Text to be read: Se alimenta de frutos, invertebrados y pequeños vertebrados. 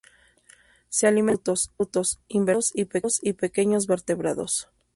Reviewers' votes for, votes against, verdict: 0, 2, rejected